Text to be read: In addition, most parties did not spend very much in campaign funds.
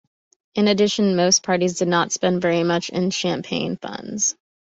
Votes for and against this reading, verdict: 1, 2, rejected